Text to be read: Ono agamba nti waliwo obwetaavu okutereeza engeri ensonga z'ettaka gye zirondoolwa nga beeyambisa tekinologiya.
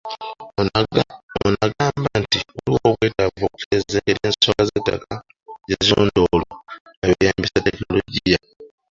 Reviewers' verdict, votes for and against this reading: rejected, 0, 2